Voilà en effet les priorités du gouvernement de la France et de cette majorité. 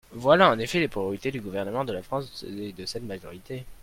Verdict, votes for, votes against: rejected, 1, 2